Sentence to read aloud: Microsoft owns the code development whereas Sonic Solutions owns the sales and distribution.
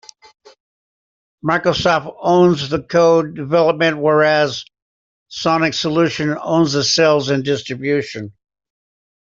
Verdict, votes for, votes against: accepted, 2, 0